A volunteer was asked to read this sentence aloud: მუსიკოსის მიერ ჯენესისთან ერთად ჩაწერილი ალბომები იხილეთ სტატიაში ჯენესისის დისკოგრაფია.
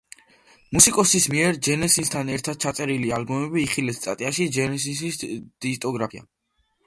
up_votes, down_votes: 1, 2